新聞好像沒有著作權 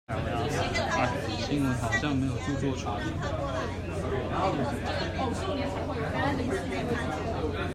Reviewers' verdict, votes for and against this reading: rejected, 0, 2